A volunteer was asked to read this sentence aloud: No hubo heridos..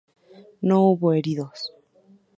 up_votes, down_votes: 2, 0